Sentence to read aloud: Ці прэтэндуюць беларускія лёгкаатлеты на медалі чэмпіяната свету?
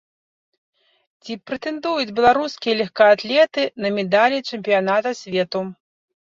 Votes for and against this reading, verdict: 2, 1, accepted